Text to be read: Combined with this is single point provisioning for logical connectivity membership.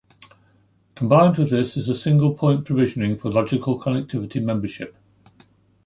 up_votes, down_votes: 1, 2